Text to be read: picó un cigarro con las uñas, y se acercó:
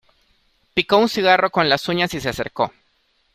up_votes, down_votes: 2, 0